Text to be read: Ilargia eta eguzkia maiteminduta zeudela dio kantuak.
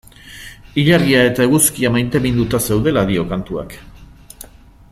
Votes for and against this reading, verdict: 2, 0, accepted